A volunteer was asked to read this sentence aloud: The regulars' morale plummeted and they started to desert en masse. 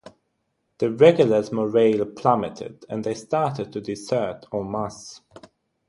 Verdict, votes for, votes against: rejected, 3, 3